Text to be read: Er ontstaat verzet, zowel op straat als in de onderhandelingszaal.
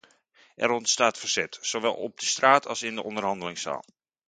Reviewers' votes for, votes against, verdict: 0, 2, rejected